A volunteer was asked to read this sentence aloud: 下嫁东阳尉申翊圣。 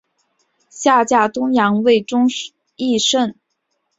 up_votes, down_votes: 2, 0